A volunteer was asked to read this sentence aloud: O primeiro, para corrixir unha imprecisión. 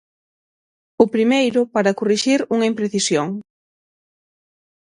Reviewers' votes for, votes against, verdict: 6, 0, accepted